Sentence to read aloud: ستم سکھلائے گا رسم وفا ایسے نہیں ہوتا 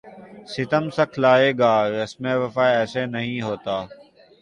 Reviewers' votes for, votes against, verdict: 5, 0, accepted